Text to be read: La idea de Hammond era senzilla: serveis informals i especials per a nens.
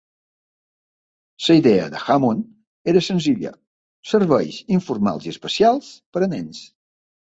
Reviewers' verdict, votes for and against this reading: accepted, 2, 1